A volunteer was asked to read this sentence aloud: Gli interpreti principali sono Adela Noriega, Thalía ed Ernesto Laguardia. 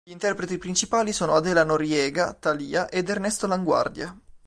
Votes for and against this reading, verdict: 3, 0, accepted